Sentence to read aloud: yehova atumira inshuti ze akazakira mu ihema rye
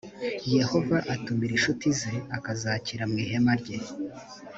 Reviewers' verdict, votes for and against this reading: accepted, 2, 0